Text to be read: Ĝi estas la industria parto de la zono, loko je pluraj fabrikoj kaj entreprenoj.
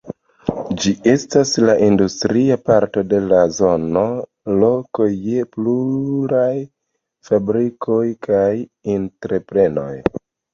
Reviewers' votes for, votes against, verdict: 2, 0, accepted